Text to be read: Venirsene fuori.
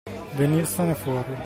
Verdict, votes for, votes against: accepted, 2, 0